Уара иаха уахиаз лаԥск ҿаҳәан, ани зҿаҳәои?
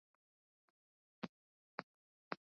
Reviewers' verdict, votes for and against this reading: rejected, 0, 2